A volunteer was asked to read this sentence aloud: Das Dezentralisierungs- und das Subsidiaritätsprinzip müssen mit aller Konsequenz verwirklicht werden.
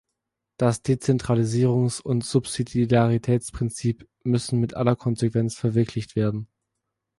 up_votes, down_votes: 1, 3